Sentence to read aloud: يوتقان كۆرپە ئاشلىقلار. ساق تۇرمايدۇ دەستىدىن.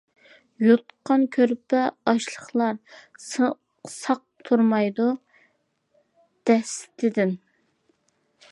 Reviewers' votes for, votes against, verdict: 0, 2, rejected